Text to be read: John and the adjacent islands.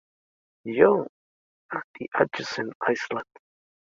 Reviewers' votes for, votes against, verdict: 0, 2, rejected